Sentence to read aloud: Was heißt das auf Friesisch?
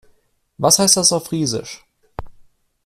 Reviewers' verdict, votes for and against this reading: accepted, 2, 0